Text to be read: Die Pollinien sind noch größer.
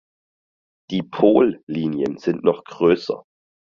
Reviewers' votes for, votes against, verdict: 4, 0, accepted